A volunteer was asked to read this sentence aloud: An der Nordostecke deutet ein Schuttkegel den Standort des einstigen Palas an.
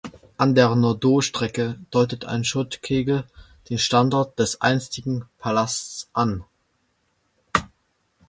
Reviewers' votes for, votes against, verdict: 1, 2, rejected